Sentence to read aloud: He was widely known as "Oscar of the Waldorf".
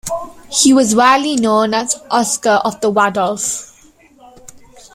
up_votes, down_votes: 1, 2